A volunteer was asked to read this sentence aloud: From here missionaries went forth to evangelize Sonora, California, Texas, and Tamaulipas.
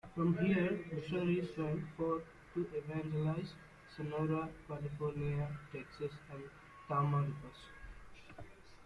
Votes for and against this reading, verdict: 1, 2, rejected